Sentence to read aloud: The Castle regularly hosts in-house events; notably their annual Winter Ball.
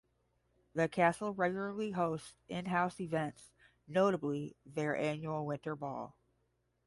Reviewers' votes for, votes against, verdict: 10, 0, accepted